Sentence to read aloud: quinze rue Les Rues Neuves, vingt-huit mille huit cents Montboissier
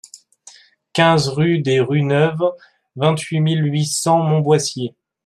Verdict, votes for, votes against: rejected, 1, 2